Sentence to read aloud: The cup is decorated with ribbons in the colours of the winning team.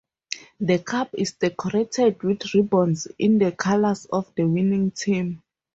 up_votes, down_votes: 2, 4